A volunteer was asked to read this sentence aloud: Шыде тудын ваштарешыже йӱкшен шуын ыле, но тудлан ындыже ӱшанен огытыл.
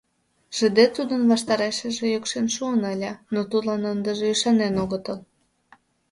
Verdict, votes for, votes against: accepted, 2, 0